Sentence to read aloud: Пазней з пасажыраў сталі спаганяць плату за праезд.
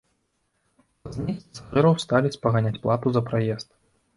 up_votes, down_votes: 0, 2